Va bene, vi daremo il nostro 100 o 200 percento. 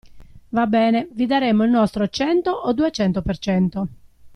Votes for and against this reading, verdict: 0, 2, rejected